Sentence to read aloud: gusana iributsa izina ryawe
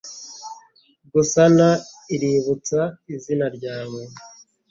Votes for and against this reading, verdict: 2, 0, accepted